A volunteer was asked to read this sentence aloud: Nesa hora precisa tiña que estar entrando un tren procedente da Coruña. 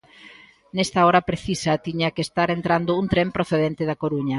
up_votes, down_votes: 2, 0